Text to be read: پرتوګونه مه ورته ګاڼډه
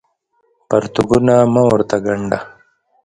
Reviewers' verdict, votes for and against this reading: rejected, 1, 2